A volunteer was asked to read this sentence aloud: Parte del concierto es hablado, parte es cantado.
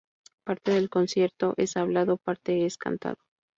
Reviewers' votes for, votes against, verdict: 2, 0, accepted